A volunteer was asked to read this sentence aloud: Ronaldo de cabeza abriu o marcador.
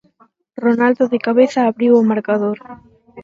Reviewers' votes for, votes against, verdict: 0, 4, rejected